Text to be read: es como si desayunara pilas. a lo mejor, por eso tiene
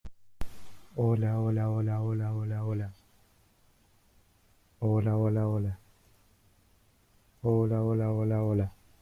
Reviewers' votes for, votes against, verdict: 0, 2, rejected